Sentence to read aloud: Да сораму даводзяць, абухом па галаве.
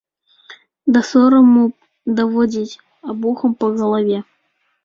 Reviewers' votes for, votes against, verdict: 0, 2, rejected